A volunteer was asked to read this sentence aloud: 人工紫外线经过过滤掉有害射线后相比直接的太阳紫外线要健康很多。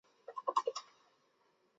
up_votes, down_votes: 0, 2